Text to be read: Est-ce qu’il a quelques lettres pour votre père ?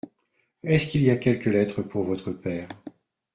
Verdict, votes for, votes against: rejected, 1, 2